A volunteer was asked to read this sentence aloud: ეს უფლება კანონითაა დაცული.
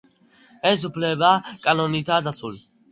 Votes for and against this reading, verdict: 3, 0, accepted